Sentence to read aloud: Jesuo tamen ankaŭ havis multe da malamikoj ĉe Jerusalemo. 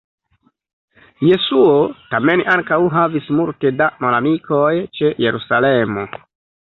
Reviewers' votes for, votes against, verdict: 1, 2, rejected